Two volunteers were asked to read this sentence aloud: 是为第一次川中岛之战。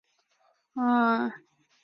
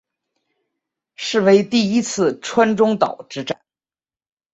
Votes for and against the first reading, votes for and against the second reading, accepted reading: 0, 2, 3, 1, second